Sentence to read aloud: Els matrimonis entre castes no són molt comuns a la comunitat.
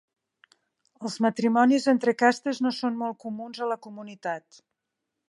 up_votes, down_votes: 3, 0